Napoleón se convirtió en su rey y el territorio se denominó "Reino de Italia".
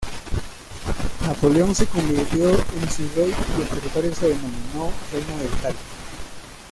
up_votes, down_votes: 1, 2